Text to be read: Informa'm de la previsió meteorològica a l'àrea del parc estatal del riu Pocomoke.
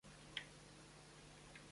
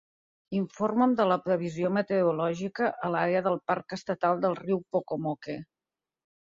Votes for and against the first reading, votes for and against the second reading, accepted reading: 0, 2, 4, 0, second